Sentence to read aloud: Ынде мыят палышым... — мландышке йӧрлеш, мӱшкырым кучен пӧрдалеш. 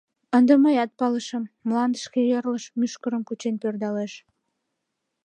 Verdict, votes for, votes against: accepted, 3, 1